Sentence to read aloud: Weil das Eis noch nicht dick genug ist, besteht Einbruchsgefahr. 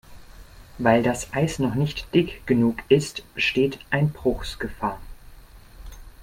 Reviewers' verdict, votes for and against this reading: accepted, 2, 1